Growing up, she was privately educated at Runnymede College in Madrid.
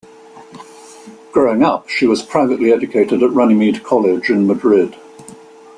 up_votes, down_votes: 2, 0